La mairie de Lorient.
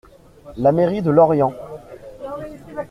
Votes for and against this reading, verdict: 1, 2, rejected